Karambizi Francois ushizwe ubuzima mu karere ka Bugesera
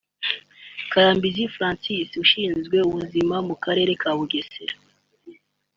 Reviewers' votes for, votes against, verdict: 2, 1, accepted